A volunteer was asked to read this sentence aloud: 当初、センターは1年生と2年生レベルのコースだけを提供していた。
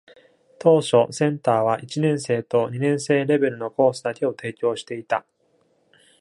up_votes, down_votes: 0, 2